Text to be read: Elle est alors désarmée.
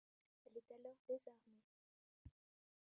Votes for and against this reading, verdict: 0, 2, rejected